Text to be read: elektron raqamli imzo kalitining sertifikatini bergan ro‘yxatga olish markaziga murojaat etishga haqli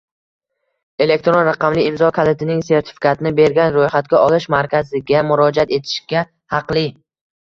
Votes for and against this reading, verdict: 0, 2, rejected